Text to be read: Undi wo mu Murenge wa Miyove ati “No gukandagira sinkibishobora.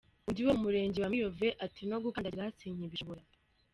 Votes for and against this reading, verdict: 0, 2, rejected